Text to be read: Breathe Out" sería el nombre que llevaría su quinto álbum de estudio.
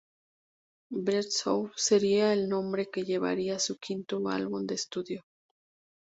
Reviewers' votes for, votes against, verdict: 2, 0, accepted